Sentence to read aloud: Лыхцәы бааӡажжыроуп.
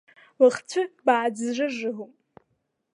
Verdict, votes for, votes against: rejected, 1, 2